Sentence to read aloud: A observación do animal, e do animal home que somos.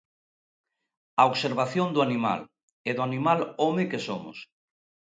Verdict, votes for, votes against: accepted, 2, 0